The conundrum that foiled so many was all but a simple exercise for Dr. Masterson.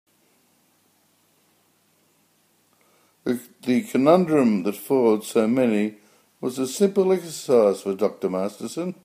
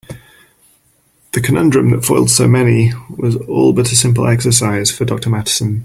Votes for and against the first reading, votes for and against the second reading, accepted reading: 0, 2, 3, 1, second